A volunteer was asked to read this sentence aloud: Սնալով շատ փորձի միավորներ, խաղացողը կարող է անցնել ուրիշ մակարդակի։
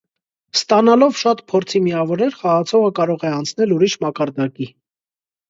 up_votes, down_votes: 1, 2